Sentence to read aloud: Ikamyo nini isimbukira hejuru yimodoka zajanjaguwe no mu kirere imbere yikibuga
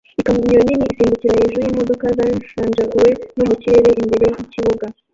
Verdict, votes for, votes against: rejected, 0, 2